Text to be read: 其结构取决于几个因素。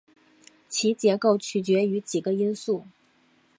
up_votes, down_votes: 3, 0